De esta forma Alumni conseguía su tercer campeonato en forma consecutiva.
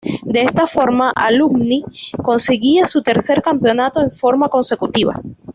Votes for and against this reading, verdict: 2, 0, accepted